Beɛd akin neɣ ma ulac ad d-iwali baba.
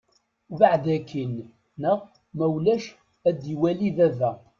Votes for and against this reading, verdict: 2, 0, accepted